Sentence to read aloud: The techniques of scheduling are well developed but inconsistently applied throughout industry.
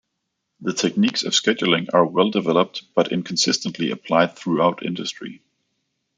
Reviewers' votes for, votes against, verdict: 2, 0, accepted